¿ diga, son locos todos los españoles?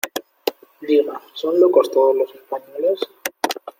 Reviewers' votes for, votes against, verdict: 1, 2, rejected